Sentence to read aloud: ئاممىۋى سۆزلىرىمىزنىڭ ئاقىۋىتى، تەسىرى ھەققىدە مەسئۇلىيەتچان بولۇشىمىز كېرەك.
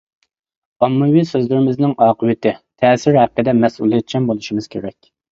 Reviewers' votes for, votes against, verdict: 2, 0, accepted